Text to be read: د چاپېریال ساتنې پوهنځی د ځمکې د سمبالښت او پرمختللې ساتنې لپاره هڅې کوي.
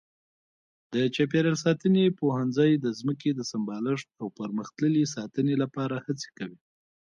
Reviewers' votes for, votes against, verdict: 2, 1, accepted